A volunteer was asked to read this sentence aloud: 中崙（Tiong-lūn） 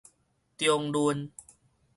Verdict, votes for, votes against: rejected, 2, 2